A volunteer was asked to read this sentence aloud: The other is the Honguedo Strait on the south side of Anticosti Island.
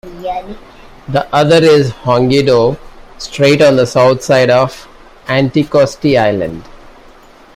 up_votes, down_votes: 0, 2